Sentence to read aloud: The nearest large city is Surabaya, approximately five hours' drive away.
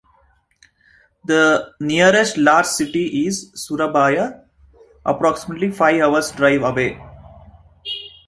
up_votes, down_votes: 2, 0